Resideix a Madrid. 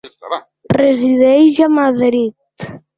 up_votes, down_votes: 1, 2